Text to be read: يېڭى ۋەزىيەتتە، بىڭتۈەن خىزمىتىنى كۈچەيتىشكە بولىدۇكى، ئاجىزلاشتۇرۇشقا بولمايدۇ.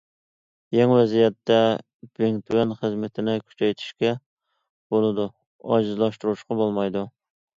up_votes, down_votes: 0, 2